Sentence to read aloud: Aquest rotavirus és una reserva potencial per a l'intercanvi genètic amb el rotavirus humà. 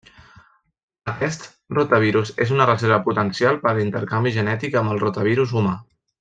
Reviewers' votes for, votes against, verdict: 1, 2, rejected